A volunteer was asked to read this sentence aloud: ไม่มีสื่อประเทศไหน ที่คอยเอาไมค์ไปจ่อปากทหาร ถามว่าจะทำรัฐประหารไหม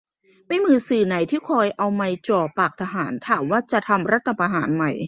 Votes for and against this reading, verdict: 0, 2, rejected